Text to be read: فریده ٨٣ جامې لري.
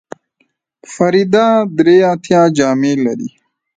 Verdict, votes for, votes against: rejected, 0, 2